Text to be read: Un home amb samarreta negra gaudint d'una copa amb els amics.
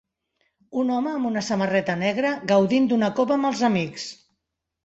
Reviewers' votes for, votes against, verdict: 0, 2, rejected